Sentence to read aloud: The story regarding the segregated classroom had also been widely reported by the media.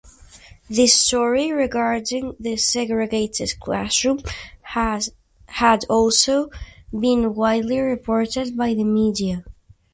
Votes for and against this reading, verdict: 2, 2, rejected